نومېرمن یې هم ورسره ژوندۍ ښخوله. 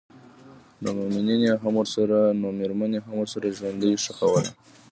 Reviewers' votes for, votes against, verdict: 1, 2, rejected